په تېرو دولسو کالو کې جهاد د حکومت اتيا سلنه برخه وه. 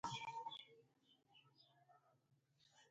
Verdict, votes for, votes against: rejected, 1, 2